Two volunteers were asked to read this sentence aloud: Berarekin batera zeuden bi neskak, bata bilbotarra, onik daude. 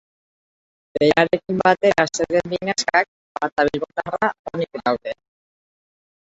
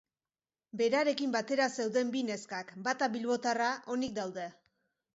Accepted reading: second